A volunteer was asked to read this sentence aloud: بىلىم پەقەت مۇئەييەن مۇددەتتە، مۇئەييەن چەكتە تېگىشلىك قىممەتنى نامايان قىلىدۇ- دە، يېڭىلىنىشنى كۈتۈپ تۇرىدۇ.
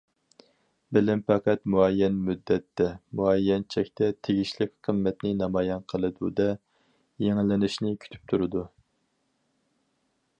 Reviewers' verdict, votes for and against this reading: accepted, 4, 0